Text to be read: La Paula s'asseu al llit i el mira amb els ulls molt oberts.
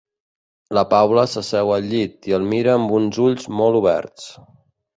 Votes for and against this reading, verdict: 0, 2, rejected